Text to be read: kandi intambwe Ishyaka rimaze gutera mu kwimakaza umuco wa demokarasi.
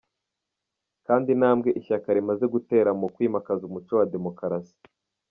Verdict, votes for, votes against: accepted, 2, 0